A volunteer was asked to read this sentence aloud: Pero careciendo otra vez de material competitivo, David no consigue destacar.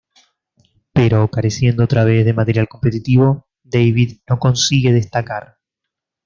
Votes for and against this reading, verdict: 1, 2, rejected